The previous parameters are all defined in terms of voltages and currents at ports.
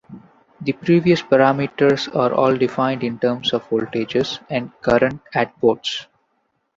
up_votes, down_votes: 2, 0